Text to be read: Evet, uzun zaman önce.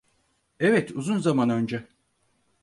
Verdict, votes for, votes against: accepted, 4, 0